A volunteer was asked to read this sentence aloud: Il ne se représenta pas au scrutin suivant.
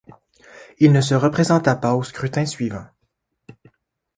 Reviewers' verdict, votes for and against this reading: accepted, 2, 0